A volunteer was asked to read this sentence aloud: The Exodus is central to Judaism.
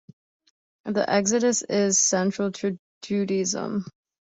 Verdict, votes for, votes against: accepted, 2, 1